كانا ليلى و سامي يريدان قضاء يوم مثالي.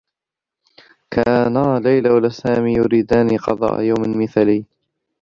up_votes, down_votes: 1, 2